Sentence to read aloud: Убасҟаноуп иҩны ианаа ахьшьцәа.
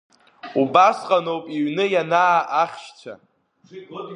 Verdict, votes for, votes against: rejected, 0, 2